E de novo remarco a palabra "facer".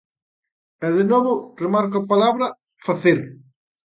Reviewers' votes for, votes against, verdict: 2, 0, accepted